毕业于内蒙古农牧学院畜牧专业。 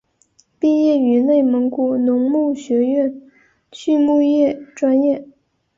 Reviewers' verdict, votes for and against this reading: rejected, 1, 2